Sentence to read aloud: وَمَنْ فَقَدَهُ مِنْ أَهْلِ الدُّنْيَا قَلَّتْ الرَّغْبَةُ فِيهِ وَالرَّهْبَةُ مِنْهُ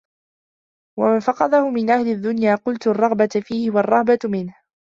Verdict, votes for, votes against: accepted, 2, 0